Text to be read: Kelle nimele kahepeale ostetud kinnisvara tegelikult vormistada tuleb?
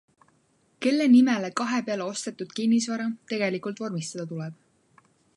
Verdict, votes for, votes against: accepted, 2, 0